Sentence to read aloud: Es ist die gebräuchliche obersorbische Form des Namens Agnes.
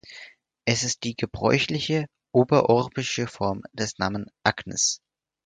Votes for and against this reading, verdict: 0, 4, rejected